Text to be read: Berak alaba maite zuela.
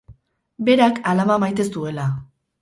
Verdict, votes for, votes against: rejected, 2, 2